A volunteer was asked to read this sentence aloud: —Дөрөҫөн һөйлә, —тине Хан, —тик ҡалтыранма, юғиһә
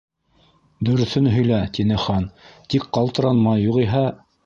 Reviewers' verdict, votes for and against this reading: accepted, 2, 0